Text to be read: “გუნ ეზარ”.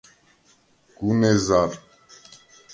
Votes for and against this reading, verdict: 2, 0, accepted